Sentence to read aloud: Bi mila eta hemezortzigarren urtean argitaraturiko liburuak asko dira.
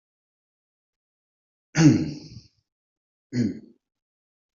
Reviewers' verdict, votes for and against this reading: rejected, 0, 2